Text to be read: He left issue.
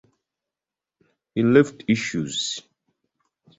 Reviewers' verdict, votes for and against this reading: rejected, 0, 2